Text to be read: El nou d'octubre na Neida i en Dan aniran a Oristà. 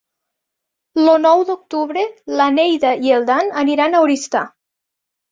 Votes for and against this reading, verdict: 1, 2, rejected